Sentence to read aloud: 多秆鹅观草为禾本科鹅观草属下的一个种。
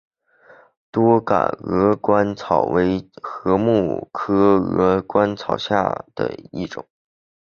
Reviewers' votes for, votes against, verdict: 0, 2, rejected